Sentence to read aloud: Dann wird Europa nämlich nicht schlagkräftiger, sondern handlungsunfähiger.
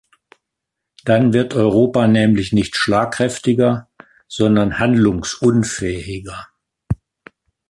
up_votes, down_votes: 2, 0